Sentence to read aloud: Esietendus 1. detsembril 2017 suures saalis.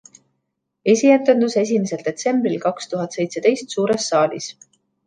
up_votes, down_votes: 0, 2